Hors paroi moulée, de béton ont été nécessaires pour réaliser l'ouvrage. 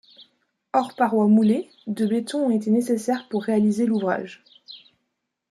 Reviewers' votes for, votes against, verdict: 2, 0, accepted